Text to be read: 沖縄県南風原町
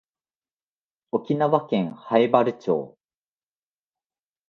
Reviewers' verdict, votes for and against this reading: accepted, 2, 0